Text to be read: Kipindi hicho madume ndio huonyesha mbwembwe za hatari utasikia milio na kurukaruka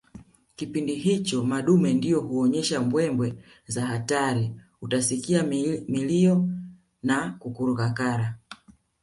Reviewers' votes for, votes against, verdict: 2, 0, accepted